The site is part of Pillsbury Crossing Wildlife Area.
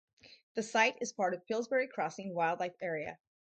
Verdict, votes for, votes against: accepted, 4, 0